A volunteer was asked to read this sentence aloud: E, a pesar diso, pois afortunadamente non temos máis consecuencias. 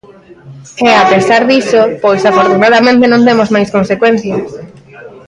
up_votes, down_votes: 0, 3